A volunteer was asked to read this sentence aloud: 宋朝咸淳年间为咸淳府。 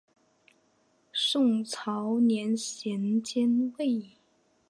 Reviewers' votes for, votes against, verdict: 3, 2, accepted